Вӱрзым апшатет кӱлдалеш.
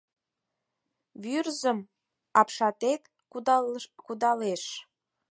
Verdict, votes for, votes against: rejected, 2, 4